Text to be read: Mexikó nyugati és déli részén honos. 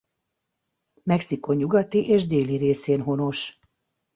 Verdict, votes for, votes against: accepted, 2, 0